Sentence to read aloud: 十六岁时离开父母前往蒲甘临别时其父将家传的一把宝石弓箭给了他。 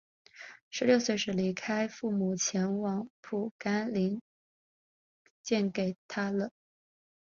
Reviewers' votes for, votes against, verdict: 0, 2, rejected